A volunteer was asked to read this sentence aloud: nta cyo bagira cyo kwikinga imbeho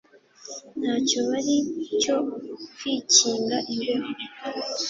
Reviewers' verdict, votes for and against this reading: rejected, 0, 2